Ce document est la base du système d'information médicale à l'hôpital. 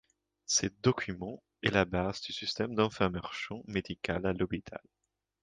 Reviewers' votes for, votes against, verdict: 2, 1, accepted